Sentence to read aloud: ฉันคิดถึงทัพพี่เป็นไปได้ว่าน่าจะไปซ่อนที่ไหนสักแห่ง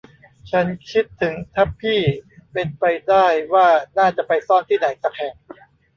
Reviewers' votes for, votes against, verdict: 0, 2, rejected